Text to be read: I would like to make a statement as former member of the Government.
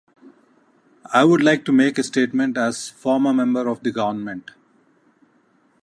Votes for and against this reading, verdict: 2, 0, accepted